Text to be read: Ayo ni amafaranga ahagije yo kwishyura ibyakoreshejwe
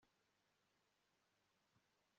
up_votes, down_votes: 1, 3